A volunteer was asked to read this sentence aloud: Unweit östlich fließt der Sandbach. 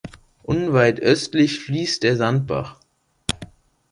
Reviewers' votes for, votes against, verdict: 2, 0, accepted